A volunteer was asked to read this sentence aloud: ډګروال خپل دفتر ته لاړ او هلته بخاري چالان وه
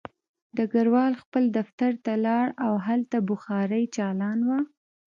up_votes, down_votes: 0, 2